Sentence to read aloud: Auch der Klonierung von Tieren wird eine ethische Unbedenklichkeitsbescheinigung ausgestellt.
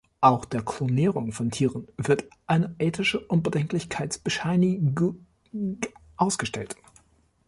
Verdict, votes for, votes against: rejected, 0, 2